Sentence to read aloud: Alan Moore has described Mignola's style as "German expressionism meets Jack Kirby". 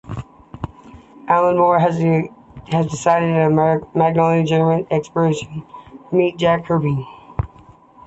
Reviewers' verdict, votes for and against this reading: rejected, 1, 2